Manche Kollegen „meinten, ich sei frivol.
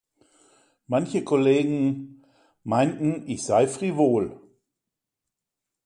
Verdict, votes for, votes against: accepted, 2, 0